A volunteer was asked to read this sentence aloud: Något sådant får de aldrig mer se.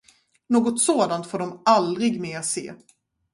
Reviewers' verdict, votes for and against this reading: accepted, 4, 0